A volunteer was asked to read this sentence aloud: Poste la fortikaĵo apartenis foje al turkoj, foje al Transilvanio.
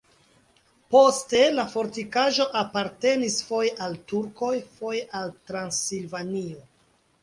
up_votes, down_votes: 2, 0